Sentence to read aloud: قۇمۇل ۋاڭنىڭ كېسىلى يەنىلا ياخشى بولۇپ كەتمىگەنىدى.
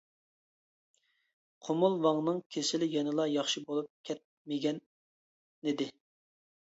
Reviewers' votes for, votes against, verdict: 1, 2, rejected